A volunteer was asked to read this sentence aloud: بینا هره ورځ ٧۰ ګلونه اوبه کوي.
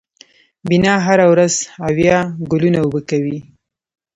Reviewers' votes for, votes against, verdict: 0, 2, rejected